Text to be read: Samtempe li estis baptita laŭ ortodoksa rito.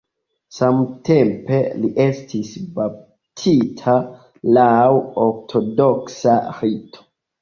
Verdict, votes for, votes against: accepted, 2, 1